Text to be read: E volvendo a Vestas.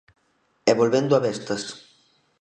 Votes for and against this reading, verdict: 2, 0, accepted